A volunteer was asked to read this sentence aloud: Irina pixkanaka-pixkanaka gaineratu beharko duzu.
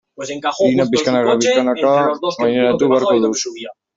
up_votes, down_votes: 0, 2